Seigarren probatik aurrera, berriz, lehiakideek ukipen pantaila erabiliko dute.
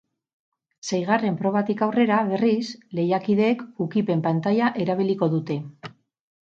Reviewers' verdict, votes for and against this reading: accepted, 6, 0